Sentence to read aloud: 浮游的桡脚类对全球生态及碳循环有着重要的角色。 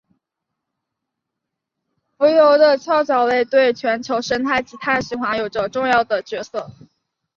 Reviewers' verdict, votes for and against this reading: accepted, 3, 0